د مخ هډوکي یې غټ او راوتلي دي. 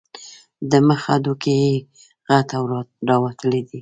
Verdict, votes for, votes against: rejected, 1, 2